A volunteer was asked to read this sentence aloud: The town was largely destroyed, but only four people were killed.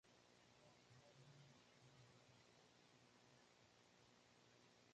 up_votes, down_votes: 0, 2